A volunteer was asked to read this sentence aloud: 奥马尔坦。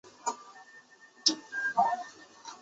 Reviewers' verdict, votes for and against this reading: rejected, 0, 3